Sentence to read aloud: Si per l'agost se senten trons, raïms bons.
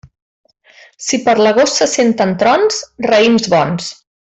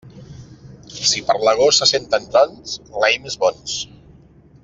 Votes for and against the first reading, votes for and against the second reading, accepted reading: 3, 0, 1, 3, first